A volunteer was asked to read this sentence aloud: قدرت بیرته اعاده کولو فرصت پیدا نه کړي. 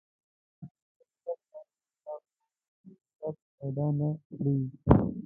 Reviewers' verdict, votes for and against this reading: rejected, 0, 2